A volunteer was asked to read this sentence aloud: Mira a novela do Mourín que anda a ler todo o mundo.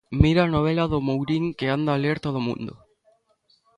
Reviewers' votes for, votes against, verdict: 2, 0, accepted